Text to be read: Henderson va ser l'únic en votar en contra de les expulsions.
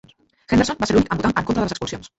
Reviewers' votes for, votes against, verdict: 0, 2, rejected